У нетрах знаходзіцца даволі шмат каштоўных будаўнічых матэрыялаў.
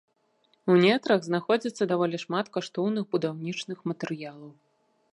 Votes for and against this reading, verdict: 0, 2, rejected